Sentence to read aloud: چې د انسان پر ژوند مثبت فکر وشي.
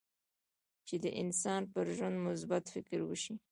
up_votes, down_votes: 2, 0